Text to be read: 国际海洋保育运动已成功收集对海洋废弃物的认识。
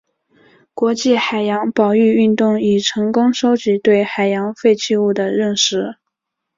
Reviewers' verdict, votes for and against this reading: rejected, 1, 2